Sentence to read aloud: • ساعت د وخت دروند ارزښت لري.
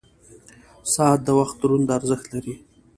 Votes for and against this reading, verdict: 2, 0, accepted